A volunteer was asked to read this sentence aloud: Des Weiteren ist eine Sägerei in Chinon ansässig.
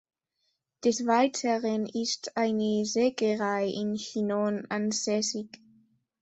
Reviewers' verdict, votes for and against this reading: accepted, 2, 0